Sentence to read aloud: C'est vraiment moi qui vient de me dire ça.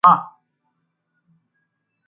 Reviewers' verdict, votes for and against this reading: rejected, 0, 2